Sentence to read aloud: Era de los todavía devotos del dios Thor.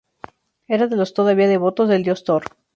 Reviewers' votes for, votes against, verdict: 2, 0, accepted